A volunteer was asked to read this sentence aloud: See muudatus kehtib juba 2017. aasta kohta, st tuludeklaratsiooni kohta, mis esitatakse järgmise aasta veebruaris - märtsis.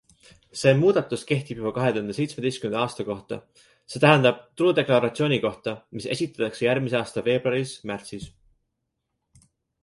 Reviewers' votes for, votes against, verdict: 0, 2, rejected